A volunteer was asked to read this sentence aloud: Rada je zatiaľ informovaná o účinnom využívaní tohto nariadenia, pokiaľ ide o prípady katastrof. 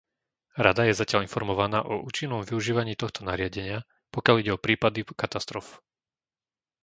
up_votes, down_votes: 0, 2